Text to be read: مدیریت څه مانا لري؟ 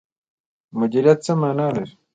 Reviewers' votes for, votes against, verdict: 2, 0, accepted